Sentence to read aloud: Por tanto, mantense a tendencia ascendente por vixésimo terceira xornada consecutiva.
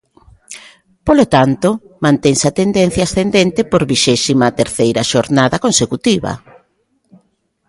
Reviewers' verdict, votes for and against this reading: rejected, 0, 2